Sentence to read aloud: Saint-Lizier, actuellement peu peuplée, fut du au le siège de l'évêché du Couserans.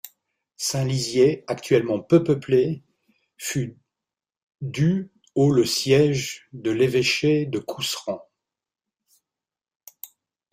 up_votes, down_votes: 2, 1